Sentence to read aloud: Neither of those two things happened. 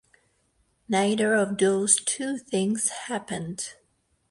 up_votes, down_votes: 4, 2